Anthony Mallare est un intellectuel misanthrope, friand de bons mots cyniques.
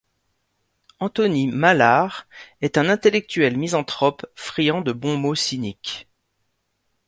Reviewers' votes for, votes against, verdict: 2, 0, accepted